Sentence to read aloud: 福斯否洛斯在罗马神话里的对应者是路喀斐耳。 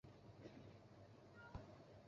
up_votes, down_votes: 0, 4